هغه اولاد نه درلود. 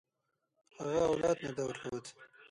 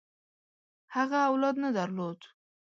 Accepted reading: second